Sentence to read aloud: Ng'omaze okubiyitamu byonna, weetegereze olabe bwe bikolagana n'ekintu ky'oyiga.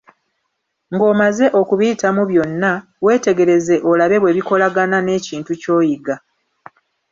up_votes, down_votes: 2, 0